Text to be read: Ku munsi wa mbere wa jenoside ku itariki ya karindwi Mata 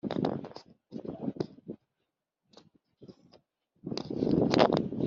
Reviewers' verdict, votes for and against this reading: rejected, 0, 3